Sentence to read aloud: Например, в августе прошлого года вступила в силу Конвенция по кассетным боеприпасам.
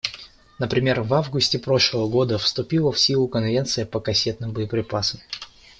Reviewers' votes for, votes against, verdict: 1, 2, rejected